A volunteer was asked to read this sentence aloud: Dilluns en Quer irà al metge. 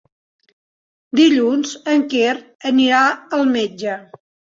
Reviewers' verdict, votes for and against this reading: rejected, 0, 2